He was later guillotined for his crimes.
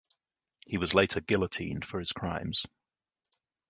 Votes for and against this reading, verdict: 2, 1, accepted